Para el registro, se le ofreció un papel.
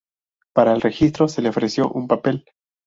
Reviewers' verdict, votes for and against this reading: accepted, 2, 0